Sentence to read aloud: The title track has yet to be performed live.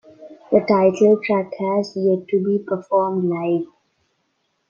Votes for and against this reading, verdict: 2, 1, accepted